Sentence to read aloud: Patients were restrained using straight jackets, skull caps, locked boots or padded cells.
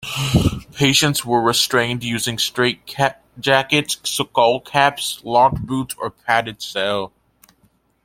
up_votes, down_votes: 0, 2